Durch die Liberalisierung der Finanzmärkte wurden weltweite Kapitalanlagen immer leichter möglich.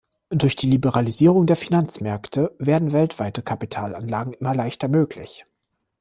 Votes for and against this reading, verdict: 0, 2, rejected